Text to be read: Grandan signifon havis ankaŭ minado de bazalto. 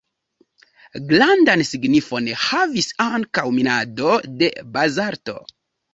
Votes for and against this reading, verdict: 2, 0, accepted